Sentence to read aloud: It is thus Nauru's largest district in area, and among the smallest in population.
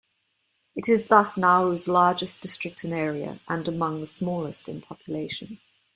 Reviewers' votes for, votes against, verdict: 2, 0, accepted